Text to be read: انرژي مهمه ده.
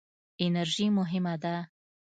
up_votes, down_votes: 2, 0